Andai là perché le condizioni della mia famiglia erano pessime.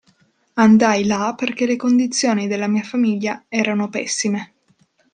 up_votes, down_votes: 2, 0